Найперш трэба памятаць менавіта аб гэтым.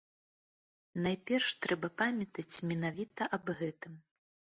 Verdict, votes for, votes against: accepted, 2, 0